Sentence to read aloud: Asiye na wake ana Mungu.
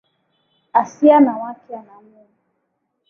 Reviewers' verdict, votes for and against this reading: accepted, 2, 1